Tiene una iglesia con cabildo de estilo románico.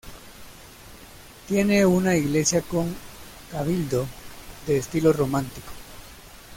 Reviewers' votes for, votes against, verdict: 0, 2, rejected